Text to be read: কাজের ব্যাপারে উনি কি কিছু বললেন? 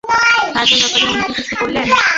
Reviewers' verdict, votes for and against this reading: rejected, 0, 2